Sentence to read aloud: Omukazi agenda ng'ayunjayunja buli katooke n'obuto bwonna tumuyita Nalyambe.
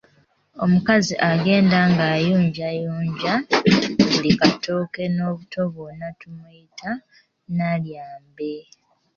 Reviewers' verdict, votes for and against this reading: accepted, 2, 1